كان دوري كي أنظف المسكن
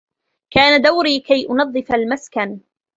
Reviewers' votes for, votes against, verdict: 1, 2, rejected